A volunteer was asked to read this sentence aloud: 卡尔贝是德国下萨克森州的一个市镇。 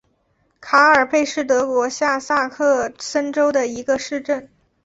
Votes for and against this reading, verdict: 2, 0, accepted